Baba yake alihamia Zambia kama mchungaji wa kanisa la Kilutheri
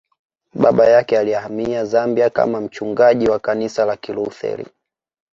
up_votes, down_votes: 2, 0